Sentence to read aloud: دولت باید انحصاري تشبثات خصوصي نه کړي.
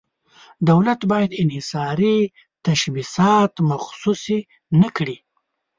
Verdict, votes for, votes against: rejected, 0, 2